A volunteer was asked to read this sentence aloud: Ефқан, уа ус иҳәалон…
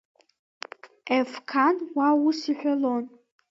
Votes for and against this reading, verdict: 0, 2, rejected